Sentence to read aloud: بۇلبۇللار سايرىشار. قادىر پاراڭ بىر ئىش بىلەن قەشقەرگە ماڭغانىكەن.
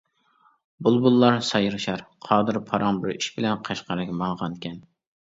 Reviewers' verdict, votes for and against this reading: accepted, 2, 0